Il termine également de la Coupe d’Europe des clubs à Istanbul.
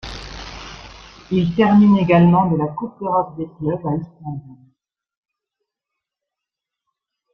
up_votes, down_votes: 1, 2